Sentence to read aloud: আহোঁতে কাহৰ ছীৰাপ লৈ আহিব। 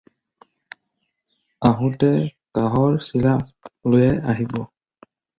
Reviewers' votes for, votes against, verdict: 4, 0, accepted